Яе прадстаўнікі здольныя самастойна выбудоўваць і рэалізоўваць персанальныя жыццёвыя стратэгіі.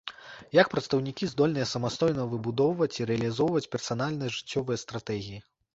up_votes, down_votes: 1, 2